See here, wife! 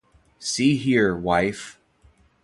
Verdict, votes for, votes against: accepted, 2, 0